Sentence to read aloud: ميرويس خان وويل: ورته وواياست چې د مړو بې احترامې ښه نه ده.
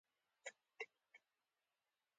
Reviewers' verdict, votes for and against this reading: rejected, 0, 2